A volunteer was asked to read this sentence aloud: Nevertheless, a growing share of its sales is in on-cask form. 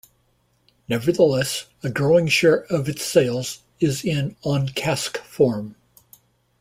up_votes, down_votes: 2, 0